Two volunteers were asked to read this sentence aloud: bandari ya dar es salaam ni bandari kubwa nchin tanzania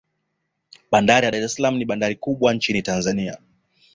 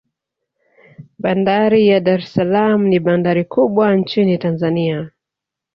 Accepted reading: first